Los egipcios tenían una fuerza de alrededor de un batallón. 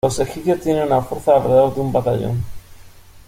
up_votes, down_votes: 0, 2